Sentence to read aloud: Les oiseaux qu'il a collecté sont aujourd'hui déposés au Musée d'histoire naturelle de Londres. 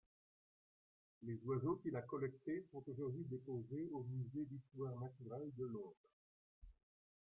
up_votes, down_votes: 2, 0